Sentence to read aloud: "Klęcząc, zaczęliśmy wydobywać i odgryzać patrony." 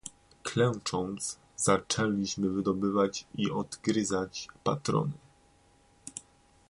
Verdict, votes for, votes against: rejected, 1, 2